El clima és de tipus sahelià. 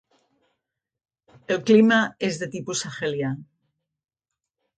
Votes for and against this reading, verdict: 2, 0, accepted